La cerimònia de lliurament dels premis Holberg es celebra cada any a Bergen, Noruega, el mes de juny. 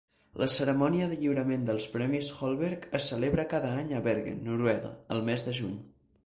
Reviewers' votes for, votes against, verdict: 0, 2, rejected